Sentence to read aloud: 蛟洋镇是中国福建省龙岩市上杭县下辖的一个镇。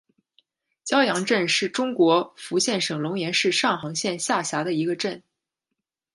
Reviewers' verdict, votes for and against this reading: accepted, 2, 0